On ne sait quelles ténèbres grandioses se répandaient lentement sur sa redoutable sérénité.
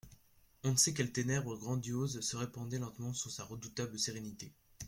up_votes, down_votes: 2, 1